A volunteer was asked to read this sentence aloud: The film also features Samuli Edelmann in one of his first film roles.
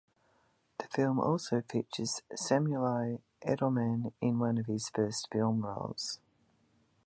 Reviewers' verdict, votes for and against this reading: accepted, 2, 1